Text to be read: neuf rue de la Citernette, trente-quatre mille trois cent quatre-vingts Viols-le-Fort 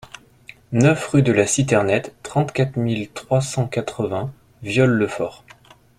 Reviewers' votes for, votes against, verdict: 2, 0, accepted